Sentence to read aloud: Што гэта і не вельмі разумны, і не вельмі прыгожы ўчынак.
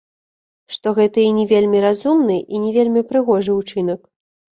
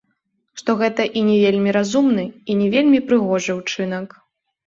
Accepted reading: second